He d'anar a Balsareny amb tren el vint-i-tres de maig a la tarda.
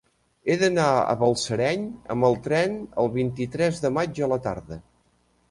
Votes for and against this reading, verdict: 0, 2, rejected